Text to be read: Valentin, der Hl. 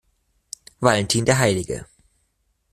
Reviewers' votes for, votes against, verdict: 0, 2, rejected